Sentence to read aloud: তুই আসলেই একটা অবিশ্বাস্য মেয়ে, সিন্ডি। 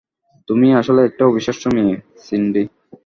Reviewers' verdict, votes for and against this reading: accepted, 3, 0